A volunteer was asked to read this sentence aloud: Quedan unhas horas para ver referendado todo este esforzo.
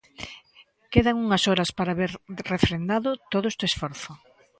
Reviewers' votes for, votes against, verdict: 0, 2, rejected